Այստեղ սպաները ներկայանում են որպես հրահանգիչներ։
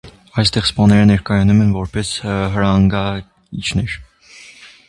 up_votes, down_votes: 0, 2